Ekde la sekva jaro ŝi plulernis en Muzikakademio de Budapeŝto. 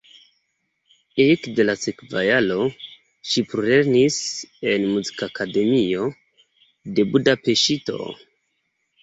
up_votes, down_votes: 2, 0